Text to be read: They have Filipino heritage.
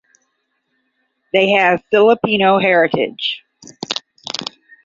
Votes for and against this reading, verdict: 10, 0, accepted